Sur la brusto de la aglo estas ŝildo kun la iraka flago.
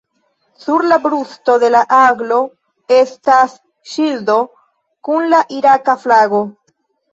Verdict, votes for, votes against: rejected, 1, 2